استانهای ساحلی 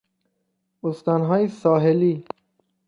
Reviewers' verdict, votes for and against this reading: accepted, 3, 0